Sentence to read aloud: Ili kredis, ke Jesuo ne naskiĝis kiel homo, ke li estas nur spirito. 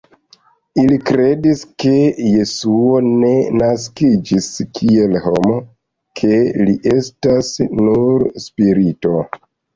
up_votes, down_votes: 2, 0